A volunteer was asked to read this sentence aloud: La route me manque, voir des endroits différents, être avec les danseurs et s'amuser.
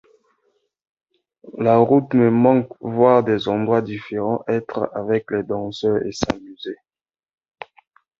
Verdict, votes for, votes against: accepted, 2, 0